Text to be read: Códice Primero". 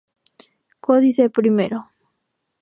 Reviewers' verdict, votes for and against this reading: rejected, 0, 2